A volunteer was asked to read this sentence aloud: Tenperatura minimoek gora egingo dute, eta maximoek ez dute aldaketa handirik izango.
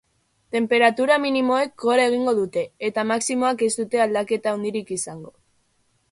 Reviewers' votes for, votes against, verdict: 2, 0, accepted